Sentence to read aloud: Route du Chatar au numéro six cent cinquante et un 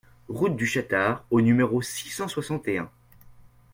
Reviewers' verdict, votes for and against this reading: rejected, 0, 2